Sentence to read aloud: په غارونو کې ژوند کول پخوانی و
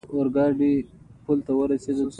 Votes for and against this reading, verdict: 1, 2, rejected